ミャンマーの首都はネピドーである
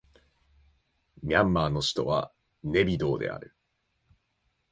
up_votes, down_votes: 0, 2